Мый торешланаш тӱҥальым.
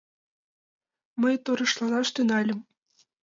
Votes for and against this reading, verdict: 2, 0, accepted